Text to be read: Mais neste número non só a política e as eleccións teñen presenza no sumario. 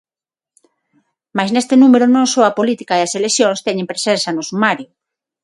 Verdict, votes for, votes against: accepted, 6, 0